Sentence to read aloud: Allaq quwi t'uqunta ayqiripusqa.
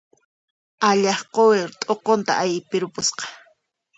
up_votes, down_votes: 1, 2